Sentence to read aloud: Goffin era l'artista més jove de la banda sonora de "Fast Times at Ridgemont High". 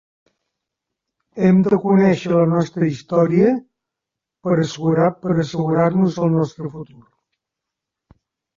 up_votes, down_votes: 0, 2